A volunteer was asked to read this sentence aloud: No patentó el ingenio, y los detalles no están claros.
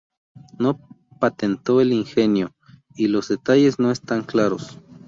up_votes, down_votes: 2, 0